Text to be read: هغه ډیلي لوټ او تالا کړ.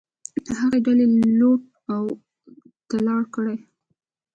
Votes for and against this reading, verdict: 2, 0, accepted